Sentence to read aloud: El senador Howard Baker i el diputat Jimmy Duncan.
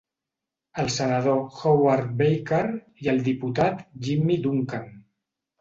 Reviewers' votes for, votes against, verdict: 2, 0, accepted